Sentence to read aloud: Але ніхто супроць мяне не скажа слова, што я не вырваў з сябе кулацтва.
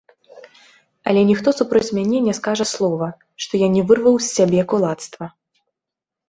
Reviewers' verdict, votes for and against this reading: accepted, 2, 0